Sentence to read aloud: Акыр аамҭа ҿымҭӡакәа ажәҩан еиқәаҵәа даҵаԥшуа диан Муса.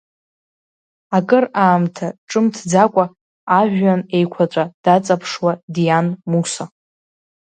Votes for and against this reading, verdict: 2, 1, accepted